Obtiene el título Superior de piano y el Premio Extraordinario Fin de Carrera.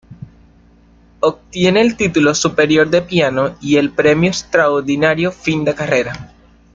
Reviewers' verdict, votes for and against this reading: accepted, 2, 0